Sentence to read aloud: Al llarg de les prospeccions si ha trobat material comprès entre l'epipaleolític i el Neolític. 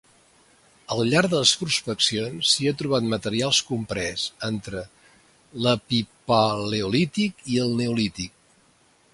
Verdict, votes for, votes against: rejected, 0, 2